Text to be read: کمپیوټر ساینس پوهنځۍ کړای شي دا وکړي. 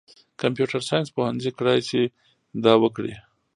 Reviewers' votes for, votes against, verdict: 1, 2, rejected